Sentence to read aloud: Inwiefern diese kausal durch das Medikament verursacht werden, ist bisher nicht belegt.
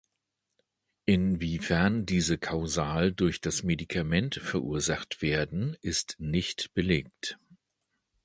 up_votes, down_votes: 0, 2